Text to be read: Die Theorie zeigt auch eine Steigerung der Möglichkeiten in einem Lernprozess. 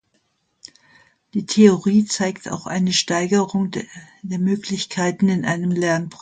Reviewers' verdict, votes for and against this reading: rejected, 0, 2